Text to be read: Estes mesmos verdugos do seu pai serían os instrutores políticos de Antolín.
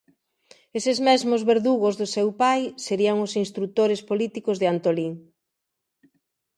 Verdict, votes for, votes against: accepted, 2, 0